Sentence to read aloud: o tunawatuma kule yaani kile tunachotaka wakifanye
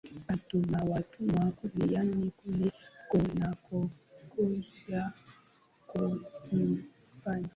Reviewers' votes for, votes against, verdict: 2, 4, rejected